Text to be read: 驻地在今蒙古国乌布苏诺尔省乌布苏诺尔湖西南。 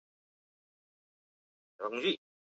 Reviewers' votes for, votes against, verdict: 0, 2, rejected